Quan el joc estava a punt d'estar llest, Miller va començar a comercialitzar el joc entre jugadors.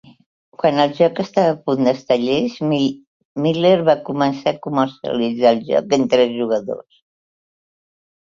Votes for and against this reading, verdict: 2, 3, rejected